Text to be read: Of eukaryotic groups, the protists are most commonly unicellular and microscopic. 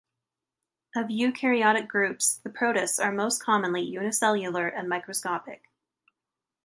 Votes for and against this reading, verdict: 2, 0, accepted